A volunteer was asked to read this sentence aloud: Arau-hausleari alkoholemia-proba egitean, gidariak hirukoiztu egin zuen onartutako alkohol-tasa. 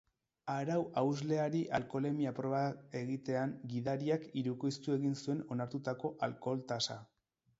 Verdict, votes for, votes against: accepted, 4, 0